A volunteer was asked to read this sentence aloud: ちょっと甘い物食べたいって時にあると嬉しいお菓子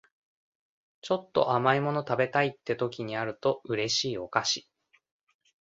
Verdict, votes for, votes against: accepted, 2, 0